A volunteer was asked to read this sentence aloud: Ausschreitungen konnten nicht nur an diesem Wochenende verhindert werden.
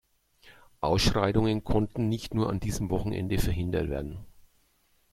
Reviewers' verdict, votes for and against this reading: accepted, 2, 0